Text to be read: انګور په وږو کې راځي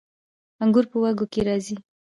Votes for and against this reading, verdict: 1, 2, rejected